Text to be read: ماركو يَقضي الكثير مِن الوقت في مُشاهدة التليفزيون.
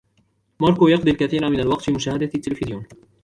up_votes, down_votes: 2, 0